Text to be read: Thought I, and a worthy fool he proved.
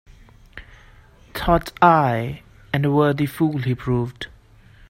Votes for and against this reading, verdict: 2, 0, accepted